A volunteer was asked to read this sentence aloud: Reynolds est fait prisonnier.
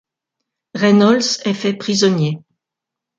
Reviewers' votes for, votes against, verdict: 2, 0, accepted